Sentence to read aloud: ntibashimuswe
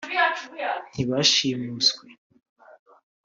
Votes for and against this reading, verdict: 2, 0, accepted